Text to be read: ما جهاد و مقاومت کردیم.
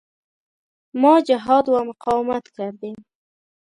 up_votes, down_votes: 2, 0